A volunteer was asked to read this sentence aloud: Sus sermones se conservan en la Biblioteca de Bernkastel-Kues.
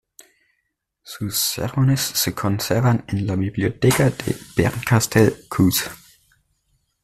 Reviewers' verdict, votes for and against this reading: accepted, 2, 0